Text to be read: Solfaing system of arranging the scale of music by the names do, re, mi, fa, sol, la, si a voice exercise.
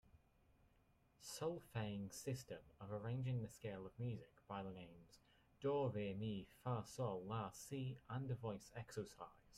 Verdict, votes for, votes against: rejected, 1, 2